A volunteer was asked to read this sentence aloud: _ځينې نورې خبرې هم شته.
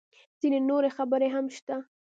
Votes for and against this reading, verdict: 1, 2, rejected